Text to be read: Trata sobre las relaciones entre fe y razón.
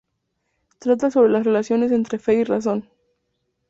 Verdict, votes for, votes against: accepted, 2, 0